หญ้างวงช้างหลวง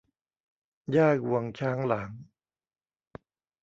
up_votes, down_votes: 1, 2